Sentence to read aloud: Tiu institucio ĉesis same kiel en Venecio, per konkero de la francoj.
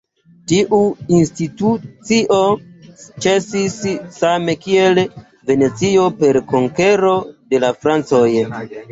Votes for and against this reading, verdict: 2, 0, accepted